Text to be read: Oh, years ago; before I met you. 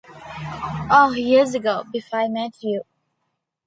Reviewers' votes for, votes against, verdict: 2, 0, accepted